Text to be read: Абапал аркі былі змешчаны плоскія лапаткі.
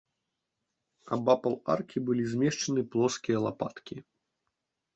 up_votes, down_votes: 2, 0